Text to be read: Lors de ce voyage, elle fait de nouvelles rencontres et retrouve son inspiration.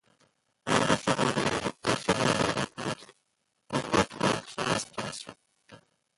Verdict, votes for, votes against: rejected, 0, 2